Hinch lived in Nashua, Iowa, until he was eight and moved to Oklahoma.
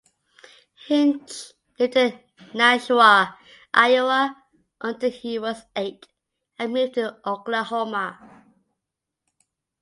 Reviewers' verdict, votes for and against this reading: accepted, 2, 0